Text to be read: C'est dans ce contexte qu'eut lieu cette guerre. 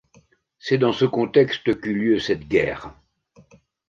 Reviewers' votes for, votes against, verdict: 2, 0, accepted